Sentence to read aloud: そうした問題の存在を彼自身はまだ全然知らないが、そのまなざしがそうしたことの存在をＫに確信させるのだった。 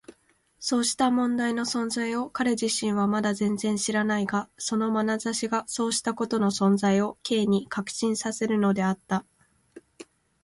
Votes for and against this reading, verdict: 2, 0, accepted